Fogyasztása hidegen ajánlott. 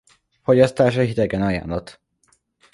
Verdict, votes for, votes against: accepted, 2, 0